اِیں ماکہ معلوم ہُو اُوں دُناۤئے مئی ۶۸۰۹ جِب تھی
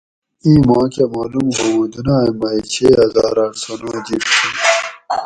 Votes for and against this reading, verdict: 0, 2, rejected